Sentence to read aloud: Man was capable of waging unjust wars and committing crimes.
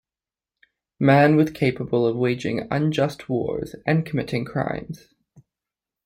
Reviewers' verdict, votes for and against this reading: rejected, 0, 2